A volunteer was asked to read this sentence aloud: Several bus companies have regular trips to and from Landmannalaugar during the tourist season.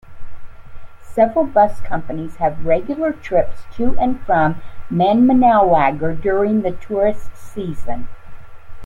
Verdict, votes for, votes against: accepted, 2, 0